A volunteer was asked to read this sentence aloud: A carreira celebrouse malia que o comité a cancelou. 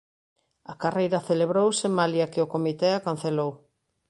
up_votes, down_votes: 2, 1